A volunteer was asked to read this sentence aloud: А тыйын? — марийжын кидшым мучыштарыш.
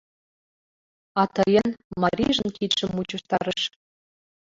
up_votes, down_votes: 1, 2